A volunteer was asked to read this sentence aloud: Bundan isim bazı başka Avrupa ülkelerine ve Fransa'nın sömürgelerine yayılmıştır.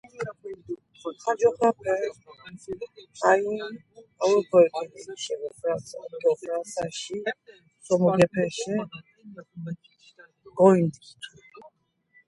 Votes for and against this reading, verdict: 0, 2, rejected